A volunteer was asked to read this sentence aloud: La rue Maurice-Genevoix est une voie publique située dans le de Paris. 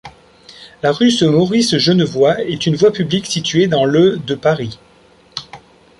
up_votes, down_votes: 1, 2